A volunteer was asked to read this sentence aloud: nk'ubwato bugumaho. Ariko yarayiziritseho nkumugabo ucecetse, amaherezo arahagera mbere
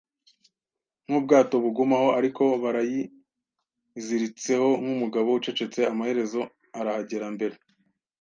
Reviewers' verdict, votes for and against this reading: accepted, 2, 0